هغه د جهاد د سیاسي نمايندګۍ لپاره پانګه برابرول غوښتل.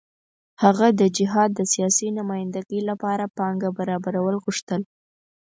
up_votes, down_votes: 4, 0